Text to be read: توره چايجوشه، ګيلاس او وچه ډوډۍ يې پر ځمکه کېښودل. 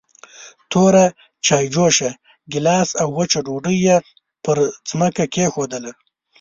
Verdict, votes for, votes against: accepted, 2, 0